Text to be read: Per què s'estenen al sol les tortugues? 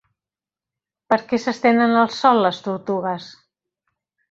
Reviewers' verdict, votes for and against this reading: accepted, 2, 0